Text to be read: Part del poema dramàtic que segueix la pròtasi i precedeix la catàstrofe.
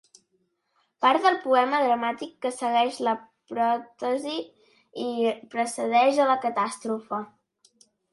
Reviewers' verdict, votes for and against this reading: rejected, 0, 2